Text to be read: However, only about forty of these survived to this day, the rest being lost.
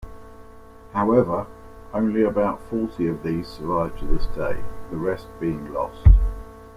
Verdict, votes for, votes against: accepted, 2, 0